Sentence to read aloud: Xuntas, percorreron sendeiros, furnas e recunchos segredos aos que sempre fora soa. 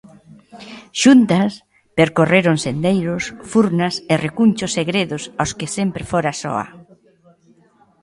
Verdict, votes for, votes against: rejected, 1, 2